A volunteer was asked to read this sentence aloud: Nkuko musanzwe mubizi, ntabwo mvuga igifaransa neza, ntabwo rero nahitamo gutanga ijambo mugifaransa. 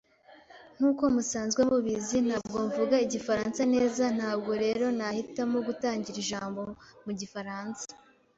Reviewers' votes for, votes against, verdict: 1, 2, rejected